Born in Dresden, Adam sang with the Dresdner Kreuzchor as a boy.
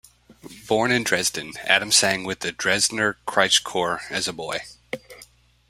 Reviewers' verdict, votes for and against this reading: accepted, 2, 0